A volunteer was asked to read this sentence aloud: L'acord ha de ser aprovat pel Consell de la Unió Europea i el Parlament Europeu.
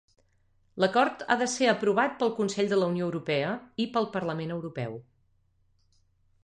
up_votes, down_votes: 0, 2